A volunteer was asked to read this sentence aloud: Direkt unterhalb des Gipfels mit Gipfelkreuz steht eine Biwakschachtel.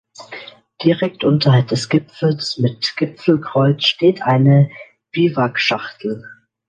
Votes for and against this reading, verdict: 2, 0, accepted